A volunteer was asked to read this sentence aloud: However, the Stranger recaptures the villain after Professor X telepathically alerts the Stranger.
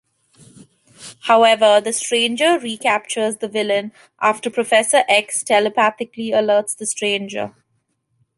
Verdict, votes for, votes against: accepted, 2, 0